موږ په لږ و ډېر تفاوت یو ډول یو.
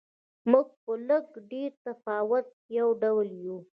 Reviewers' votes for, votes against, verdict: 0, 2, rejected